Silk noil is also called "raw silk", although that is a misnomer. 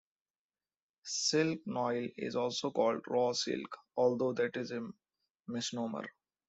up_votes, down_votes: 2, 0